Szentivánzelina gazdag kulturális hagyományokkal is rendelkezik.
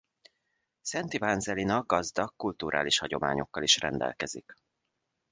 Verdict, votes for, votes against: accepted, 2, 0